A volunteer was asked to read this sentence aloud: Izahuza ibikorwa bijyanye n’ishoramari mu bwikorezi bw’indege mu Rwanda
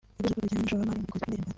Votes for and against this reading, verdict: 0, 2, rejected